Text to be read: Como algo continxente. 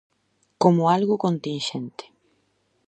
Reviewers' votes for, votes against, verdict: 2, 0, accepted